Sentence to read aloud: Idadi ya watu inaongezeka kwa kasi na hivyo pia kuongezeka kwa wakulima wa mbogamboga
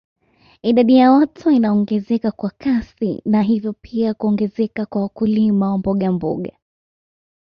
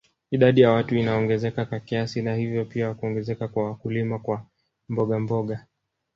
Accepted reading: first